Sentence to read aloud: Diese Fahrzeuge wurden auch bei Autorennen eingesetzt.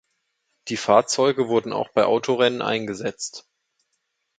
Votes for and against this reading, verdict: 0, 2, rejected